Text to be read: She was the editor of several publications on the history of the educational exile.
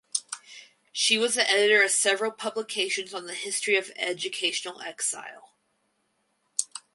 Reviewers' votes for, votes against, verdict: 0, 4, rejected